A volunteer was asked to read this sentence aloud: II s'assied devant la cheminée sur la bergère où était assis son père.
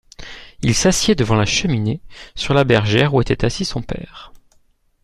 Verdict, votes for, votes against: accepted, 2, 0